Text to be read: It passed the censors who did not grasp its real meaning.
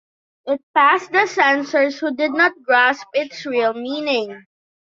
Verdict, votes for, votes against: accepted, 2, 0